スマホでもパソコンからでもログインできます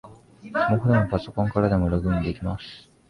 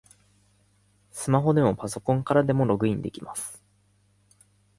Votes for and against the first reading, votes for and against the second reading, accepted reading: 1, 2, 2, 0, second